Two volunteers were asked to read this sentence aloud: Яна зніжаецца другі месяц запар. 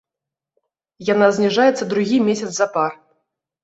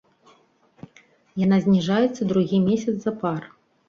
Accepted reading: second